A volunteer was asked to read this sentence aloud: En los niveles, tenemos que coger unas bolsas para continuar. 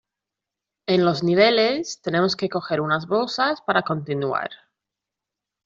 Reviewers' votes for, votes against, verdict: 2, 0, accepted